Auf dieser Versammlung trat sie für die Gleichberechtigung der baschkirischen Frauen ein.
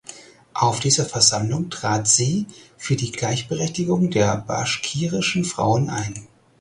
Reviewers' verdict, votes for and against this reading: accepted, 4, 0